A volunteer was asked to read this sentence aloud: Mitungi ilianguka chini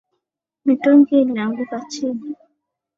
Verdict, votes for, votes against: rejected, 0, 2